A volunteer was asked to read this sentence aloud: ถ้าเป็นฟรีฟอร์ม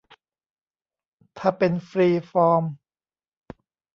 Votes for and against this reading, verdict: 2, 0, accepted